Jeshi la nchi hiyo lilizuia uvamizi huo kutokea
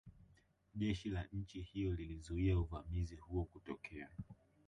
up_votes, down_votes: 1, 2